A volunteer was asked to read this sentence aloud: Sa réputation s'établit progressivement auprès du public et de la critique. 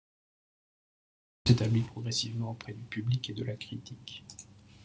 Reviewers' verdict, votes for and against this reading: rejected, 0, 2